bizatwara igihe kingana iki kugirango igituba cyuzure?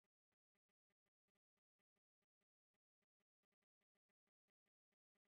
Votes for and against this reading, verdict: 1, 2, rejected